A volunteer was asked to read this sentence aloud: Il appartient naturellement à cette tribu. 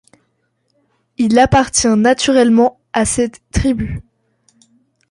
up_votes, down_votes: 2, 0